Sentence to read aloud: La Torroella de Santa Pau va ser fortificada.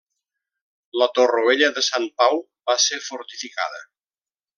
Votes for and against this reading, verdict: 0, 2, rejected